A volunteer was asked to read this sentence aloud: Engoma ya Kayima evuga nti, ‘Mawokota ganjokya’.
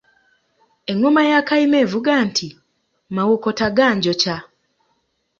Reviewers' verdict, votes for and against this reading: accepted, 2, 0